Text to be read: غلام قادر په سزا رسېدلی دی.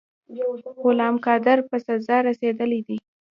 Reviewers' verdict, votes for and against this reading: accepted, 2, 0